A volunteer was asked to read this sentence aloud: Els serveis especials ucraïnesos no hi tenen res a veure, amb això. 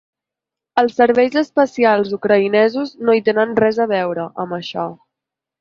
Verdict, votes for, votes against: accepted, 5, 0